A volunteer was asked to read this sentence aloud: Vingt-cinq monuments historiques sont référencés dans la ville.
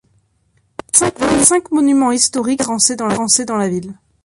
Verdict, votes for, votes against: rejected, 0, 2